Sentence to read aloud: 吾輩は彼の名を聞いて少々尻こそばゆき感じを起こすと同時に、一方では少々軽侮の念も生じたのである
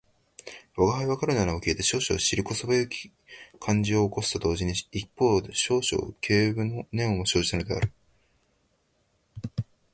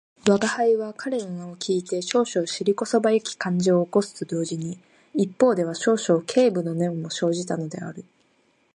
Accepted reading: second